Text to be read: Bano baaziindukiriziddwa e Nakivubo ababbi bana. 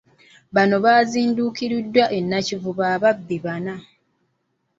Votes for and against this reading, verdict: 1, 2, rejected